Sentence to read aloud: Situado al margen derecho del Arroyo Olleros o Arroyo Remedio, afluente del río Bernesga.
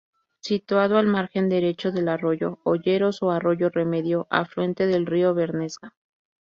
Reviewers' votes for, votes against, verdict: 0, 2, rejected